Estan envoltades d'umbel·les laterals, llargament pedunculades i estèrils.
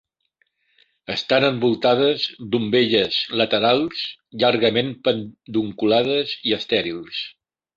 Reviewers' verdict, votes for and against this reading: rejected, 0, 2